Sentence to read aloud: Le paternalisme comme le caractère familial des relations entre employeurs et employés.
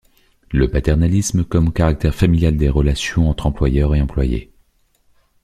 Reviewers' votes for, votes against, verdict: 1, 2, rejected